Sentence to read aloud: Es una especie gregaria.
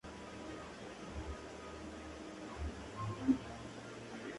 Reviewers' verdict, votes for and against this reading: rejected, 0, 2